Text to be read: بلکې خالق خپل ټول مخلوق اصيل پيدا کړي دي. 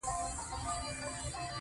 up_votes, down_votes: 0, 2